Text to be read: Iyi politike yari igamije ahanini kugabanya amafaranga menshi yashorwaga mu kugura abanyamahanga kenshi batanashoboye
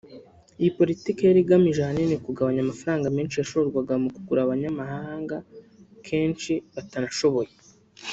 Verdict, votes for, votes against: rejected, 1, 2